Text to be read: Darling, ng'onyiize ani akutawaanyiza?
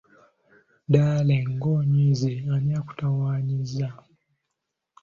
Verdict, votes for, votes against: accepted, 2, 0